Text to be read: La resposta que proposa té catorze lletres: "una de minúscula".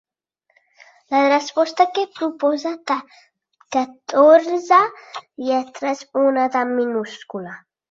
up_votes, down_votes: 2, 6